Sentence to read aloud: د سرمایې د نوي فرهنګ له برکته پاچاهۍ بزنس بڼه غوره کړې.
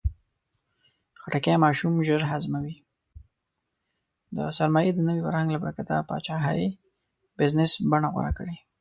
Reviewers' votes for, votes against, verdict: 1, 2, rejected